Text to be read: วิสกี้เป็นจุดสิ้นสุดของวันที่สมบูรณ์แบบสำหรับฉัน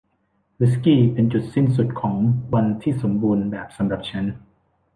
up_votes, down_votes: 1, 2